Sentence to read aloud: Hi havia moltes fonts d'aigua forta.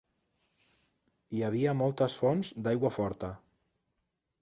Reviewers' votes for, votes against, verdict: 3, 0, accepted